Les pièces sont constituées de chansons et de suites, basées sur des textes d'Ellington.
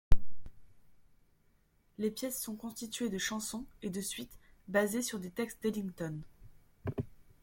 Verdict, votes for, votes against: accepted, 2, 0